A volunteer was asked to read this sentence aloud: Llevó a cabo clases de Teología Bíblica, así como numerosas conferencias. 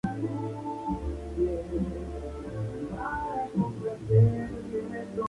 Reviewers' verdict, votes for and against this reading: rejected, 0, 4